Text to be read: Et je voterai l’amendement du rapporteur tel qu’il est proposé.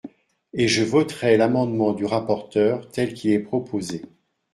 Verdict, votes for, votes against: accepted, 2, 0